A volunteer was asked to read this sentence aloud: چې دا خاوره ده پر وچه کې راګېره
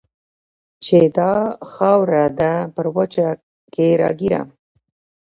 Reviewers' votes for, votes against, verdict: 2, 1, accepted